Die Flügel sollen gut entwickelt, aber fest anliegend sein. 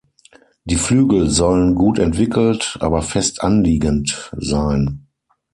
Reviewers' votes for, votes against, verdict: 3, 0, accepted